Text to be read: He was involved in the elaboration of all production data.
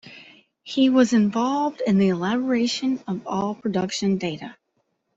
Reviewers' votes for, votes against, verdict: 2, 0, accepted